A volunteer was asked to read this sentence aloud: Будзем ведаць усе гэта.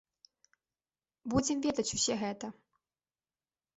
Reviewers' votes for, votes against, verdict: 2, 0, accepted